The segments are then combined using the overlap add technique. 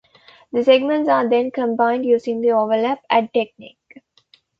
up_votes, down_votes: 2, 0